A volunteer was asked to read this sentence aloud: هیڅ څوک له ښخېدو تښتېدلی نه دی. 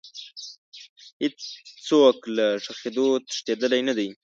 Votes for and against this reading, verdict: 2, 0, accepted